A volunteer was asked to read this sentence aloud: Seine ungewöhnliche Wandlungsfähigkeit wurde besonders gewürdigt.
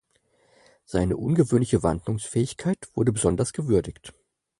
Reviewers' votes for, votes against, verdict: 4, 0, accepted